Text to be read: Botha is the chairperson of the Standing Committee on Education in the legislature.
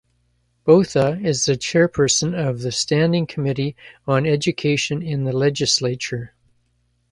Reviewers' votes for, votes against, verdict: 2, 0, accepted